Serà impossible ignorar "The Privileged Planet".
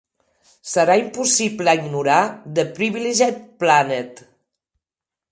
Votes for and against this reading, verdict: 3, 0, accepted